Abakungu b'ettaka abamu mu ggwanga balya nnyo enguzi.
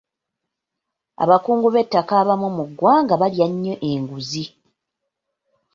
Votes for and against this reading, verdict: 2, 0, accepted